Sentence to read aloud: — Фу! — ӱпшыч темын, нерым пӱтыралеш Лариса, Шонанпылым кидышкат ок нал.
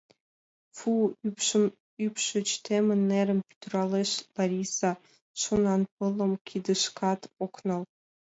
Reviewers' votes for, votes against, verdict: 1, 2, rejected